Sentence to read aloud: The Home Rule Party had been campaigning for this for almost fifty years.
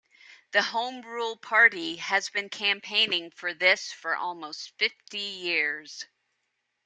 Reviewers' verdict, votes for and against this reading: rejected, 1, 2